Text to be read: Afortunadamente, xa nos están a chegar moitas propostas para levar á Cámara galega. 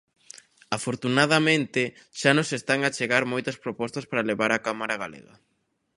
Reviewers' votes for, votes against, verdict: 2, 0, accepted